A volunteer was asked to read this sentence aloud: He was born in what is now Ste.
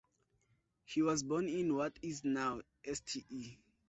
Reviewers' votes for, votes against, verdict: 0, 2, rejected